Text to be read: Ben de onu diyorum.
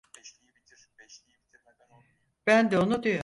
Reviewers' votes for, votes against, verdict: 0, 4, rejected